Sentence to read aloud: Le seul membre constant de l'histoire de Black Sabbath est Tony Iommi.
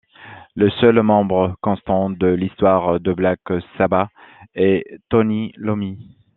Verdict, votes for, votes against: rejected, 0, 2